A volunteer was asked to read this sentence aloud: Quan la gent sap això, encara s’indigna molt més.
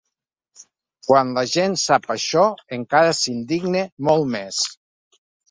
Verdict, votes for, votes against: accepted, 2, 0